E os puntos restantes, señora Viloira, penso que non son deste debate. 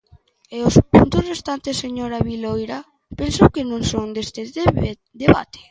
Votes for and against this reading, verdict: 0, 3, rejected